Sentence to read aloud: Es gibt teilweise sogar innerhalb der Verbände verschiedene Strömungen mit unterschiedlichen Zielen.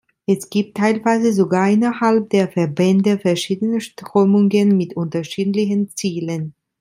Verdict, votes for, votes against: accepted, 3, 0